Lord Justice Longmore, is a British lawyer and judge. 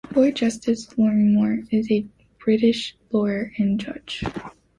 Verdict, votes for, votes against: rejected, 1, 2